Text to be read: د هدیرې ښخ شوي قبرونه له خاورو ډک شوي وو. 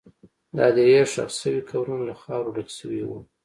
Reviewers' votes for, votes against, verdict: 0, 2, rejected